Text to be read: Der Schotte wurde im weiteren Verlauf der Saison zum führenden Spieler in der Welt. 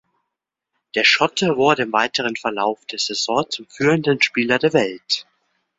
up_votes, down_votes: 0, 2